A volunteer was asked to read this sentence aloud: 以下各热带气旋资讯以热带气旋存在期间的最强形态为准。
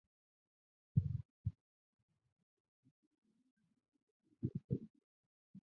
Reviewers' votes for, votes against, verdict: 0, 2, rejected